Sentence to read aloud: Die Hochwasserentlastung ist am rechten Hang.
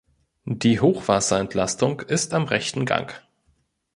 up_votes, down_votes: 0, 2